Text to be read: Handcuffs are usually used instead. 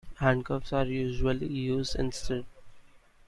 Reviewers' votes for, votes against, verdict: 2, 1, accepted